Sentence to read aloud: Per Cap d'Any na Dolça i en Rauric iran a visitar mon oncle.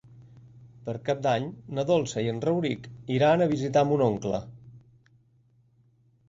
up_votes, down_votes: 4, 0